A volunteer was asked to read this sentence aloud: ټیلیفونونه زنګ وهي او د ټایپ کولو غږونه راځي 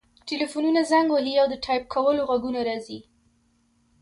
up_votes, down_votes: 2, 0